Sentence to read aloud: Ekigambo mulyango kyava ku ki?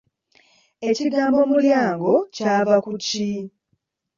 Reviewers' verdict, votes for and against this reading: rejected, 1, 2